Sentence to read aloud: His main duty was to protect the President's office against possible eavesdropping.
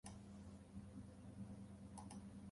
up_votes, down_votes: 0, 2